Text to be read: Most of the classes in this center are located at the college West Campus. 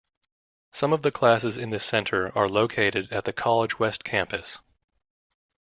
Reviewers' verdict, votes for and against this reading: rejected, 0, 2